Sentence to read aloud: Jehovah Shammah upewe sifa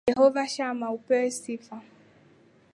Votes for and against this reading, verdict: 2, 1, accepted